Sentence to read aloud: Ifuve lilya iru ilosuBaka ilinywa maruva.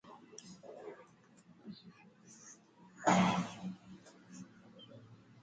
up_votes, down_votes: 2, 3